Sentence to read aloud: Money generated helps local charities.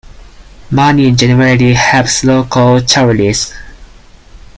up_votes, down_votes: 2, 4